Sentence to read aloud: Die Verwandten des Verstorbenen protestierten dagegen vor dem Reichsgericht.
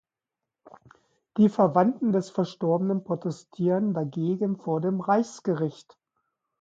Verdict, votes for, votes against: rejected, 1, 2